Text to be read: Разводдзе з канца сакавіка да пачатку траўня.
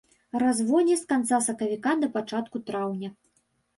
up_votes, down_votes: 2, 0